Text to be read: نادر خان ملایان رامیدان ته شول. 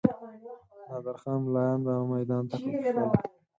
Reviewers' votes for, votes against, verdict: 0, 4, rejected